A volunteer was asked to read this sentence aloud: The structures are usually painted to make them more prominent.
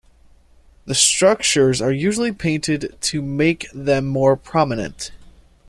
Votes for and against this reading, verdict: 2, 0, accepted